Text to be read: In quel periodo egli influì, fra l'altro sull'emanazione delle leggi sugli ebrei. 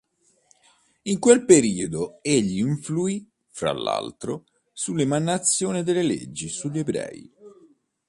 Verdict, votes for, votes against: accepted, 2, 0